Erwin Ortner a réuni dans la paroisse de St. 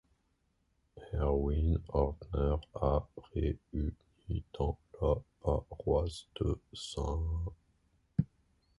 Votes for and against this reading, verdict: 1, 2, rejected